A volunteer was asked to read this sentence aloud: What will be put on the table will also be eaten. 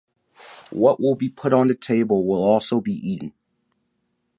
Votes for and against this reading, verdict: 2, 1, accepted